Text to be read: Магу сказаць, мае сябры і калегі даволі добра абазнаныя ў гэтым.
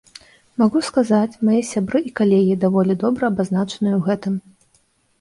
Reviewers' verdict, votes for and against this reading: accepted, 2, 1